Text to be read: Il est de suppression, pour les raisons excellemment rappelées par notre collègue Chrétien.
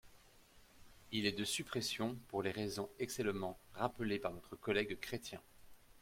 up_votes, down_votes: 0, 2